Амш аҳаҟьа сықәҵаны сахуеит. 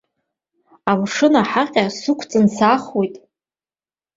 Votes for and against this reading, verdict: 1, 2, rejected